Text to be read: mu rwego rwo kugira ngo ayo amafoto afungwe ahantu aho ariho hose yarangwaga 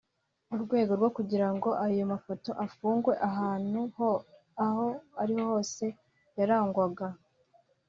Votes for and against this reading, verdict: 2, 1, accepted